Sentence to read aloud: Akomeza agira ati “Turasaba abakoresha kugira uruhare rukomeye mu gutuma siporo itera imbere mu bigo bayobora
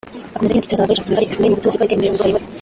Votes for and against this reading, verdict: 0, 4, rejected